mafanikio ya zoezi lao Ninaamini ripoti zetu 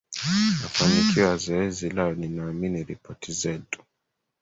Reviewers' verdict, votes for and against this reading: rejected, 1, 2